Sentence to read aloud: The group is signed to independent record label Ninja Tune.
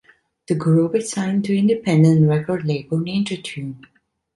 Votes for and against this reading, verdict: 2, 0, accepted